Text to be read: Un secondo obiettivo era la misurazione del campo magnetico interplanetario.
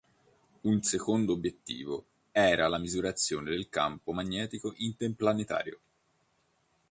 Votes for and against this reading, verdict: 1, 2, rejected